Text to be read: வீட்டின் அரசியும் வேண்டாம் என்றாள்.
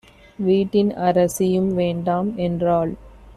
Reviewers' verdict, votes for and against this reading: accepted, 2, 0